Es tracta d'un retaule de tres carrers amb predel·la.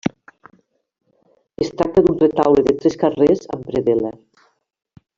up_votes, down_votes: 1, 2